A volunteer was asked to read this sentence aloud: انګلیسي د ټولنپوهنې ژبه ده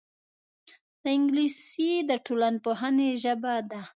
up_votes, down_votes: 2, 0